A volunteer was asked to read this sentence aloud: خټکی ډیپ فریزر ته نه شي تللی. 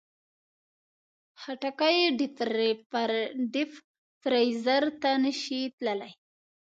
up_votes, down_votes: 0, 2